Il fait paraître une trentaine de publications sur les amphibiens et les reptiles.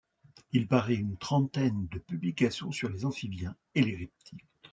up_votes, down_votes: 1, 2